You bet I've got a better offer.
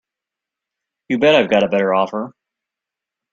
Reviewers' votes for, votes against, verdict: 2, 0, accepted